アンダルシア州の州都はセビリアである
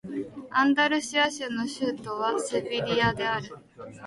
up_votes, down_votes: 2, 0